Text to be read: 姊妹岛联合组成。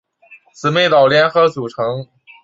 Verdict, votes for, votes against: accepted, 4, 1